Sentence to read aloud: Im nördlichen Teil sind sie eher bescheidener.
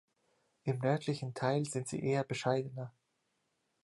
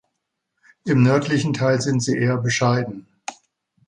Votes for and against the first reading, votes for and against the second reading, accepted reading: 2, 0, 0, 2, first